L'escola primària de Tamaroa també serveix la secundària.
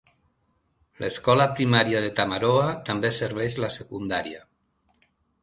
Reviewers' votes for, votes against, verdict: 3, 0, accepted